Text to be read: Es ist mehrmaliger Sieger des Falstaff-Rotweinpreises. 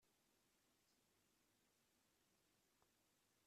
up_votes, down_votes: 0, 2